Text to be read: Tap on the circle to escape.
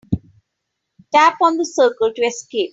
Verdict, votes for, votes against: accepted, 3, 0